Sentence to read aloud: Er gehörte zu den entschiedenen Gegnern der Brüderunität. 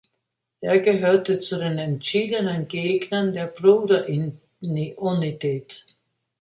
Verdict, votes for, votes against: rejected, 0, 2